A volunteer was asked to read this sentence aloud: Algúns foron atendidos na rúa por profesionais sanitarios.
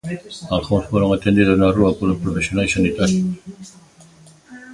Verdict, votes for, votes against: rejected, 1, 2